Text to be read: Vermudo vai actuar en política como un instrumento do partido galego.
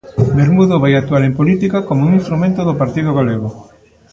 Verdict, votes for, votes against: accepted, 2, 0